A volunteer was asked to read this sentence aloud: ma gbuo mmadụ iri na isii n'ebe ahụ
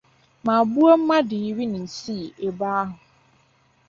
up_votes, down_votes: 2, 1